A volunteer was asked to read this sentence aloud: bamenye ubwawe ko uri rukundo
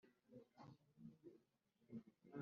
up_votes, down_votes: 0, 2